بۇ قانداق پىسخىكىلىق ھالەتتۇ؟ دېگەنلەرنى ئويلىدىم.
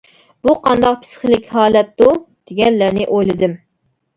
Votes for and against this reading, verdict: 0, 2, rejected